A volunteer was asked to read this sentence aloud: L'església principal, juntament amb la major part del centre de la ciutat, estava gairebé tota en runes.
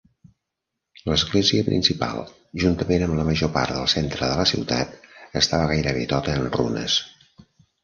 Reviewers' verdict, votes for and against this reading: accepted, 2, 0